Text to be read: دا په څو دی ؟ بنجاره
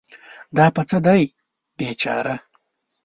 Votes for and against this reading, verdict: 0, 2, rejected